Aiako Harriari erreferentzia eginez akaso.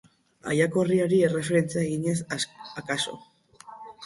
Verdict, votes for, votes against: rejected, 4, 4